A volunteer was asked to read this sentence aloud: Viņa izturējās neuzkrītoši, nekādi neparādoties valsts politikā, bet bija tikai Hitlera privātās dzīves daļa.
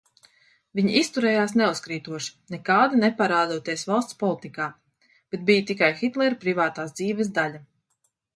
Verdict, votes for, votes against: accepted, 2, 0